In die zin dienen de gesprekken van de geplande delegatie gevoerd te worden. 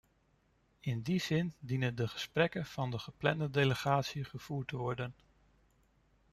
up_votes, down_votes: 2, 0